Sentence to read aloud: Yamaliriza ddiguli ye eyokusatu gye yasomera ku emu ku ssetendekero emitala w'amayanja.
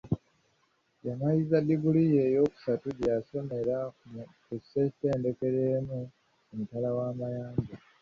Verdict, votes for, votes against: rejected, 1, 2